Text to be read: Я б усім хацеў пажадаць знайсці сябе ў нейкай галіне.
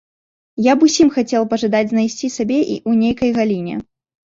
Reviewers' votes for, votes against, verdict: 0, 2, rejected